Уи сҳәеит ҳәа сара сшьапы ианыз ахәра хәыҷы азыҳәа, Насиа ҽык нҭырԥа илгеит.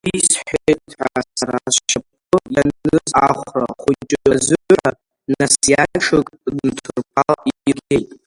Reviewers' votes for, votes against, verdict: 0, 2, rejected